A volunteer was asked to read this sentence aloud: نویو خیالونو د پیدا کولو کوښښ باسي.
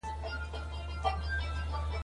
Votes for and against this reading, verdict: 2, 0, accepted